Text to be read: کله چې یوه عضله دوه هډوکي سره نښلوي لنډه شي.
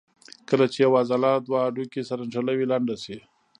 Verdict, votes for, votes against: rejected, 1, 2